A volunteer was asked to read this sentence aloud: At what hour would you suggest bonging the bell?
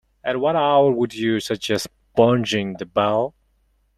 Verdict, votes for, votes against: rejected, 1, 2